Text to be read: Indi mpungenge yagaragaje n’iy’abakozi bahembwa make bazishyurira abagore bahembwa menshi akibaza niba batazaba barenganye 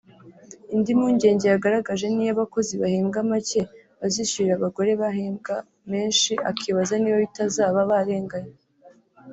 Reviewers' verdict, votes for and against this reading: accepted, 2, 0